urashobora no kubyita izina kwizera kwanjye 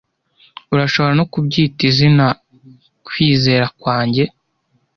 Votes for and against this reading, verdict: 2, 0, accepted